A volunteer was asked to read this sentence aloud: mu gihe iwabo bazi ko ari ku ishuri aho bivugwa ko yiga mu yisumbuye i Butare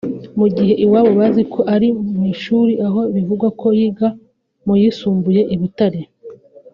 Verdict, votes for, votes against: rejected, 1, 2